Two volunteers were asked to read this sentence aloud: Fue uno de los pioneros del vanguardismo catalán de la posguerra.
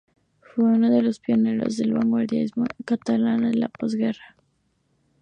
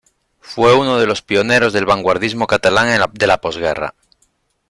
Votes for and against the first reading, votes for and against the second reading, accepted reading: 2, 0, 0, 2, first